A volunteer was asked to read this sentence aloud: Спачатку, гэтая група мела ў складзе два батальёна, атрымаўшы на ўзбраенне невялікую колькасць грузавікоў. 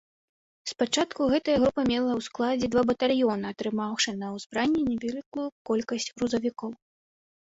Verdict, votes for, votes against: rejected, 0, 2